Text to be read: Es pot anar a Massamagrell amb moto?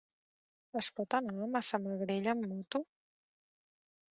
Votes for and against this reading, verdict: 2, 0, accepted